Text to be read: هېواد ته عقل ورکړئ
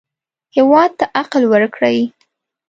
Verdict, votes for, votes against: accepted, 2, 0